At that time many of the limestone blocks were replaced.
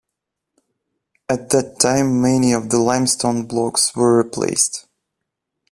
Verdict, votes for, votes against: accepted, 2, 0